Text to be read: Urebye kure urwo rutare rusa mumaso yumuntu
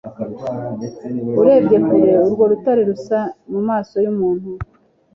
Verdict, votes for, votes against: accepted, 2, 0